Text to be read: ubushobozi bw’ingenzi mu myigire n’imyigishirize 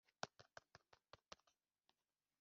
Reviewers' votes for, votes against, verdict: 0, 2, rejected